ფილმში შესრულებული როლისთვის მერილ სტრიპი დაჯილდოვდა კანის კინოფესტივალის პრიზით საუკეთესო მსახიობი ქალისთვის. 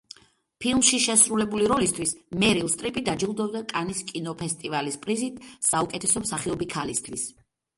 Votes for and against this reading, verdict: 2, 0, accepted